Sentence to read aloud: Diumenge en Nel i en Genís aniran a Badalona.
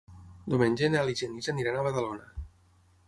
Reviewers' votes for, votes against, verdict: 6, 0, accepted